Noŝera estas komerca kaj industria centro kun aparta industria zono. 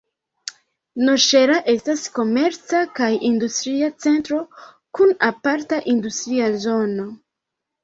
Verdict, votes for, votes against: rejected, 0, 2